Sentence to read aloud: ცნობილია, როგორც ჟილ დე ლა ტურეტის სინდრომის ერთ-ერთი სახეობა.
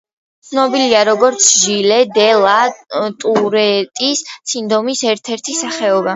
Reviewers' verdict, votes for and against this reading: rejected, 1, 2